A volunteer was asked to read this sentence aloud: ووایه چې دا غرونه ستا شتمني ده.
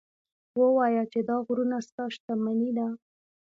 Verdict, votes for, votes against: rejected, 1, 2